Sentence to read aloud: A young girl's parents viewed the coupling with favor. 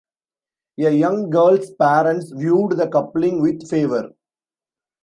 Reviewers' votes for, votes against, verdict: 2, 0, accepted